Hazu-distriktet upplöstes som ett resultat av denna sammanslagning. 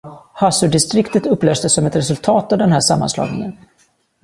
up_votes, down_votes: 1, 2